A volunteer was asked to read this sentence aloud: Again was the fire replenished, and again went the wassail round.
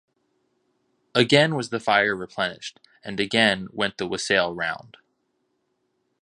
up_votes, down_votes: 2, 0